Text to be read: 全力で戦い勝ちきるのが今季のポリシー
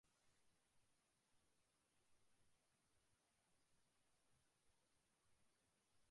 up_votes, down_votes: 1, 2